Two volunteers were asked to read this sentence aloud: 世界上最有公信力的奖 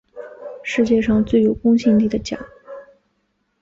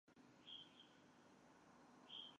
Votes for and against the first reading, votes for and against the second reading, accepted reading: 3, 0, 0, 2, first